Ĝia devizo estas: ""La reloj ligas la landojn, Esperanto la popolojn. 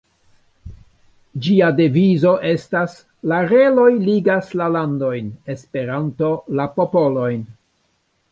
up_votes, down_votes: 1, 2